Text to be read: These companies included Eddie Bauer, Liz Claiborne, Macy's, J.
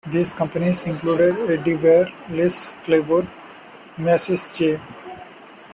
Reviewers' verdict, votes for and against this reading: rejected, 0, 2